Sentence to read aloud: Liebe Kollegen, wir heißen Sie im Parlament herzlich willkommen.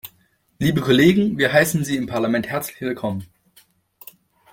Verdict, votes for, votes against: accepted, 2, 0